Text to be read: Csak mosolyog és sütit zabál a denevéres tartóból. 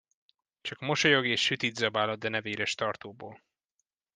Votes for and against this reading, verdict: 2, 0, accepted